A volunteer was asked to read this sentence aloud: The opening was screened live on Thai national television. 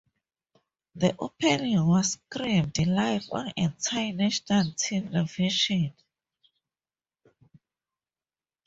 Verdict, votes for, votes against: rejected, 0, 2